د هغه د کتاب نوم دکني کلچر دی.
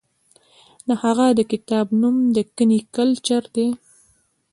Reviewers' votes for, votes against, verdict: 1, 2, rejected